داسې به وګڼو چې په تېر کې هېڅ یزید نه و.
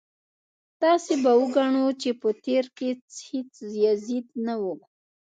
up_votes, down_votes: 2, 3